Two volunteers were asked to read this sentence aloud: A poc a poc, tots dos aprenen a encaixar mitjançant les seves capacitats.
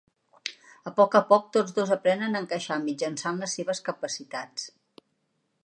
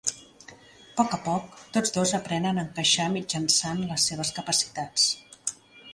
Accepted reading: first